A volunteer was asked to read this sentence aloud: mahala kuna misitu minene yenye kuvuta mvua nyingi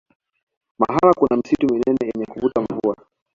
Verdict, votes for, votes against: accepted, 2, 0